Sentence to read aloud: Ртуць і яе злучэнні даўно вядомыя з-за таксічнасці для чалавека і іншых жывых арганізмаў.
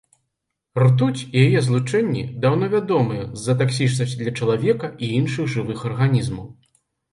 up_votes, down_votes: 3, 0